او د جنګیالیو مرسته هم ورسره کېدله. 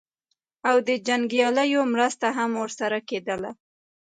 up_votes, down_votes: 1, 2